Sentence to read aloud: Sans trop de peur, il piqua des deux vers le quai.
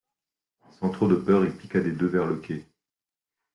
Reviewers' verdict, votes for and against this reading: accepted, 2, 0